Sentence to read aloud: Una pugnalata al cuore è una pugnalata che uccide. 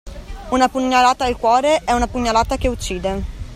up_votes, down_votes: 2, 0